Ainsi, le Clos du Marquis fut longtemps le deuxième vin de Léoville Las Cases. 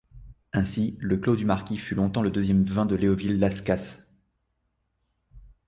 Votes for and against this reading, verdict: 2, 0, accepted